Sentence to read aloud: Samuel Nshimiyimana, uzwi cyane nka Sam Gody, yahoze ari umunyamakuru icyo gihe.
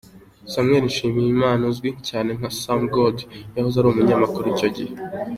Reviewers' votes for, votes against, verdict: 2, 0, accepted